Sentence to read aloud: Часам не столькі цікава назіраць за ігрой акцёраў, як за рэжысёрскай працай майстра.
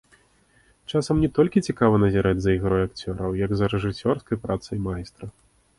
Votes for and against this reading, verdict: 0, 2, rejected